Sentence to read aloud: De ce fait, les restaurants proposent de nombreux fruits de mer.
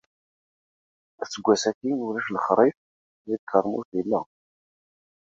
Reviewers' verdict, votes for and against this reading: rejected, 0, 2